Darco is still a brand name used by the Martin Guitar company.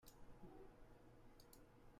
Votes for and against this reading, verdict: 0, 2, rejected